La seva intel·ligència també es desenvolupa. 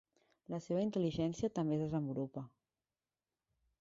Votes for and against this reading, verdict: 0, 2, rejected